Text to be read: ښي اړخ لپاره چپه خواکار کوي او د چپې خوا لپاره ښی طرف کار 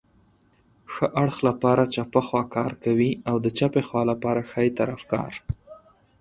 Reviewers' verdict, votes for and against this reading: accepted, 4, 0